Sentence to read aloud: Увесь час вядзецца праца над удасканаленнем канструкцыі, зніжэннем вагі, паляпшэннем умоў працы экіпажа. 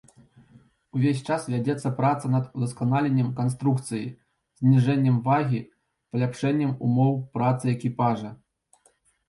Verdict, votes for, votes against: accepted, 3, 1